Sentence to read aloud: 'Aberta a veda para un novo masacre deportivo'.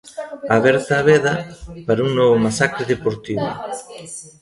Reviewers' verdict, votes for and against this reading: rejected, 1, 2